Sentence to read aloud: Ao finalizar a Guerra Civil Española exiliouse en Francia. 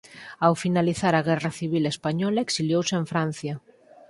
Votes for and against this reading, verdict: 4, 0, accepted